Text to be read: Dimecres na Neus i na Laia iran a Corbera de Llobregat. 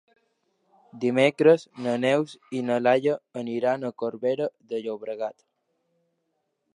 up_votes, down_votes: 2, 1